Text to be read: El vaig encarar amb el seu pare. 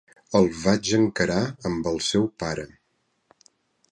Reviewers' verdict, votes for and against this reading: accepted, 2, 0